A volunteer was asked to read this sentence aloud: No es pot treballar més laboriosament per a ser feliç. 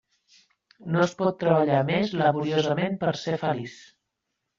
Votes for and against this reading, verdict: 1, 2, rejected